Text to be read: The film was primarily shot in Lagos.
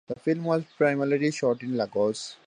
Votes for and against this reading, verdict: 2, 0, accepted